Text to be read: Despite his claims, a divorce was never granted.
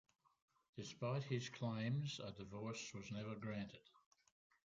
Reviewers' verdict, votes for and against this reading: accepted, 2, 0